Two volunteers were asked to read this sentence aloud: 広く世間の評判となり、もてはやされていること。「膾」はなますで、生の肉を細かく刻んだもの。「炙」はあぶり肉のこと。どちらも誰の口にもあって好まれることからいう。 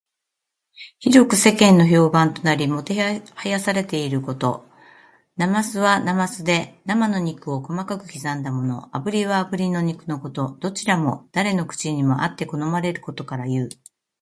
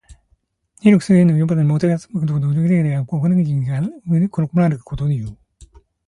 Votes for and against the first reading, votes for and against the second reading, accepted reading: 2, 0, 0, 2, first